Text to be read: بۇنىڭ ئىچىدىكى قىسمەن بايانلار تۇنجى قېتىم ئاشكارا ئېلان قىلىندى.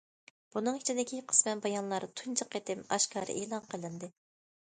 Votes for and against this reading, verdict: 2, 0, accepted